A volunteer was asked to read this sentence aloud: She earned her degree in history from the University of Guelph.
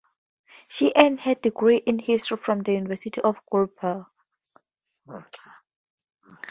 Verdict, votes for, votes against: rejected, 0, 4